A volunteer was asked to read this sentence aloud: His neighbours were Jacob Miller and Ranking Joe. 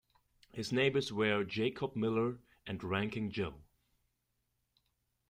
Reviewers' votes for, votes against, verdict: 2, 0, accepted